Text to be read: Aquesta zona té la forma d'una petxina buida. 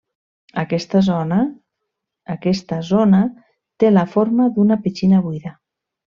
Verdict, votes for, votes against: rejected, 0, 2